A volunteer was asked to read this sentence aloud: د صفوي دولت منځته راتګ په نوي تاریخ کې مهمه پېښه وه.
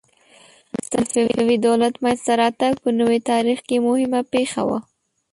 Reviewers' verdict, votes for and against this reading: rejected, 1, 2